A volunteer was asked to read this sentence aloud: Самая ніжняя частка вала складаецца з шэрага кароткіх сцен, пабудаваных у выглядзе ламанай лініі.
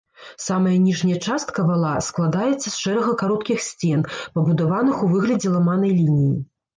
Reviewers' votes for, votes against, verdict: 1, 2, rejected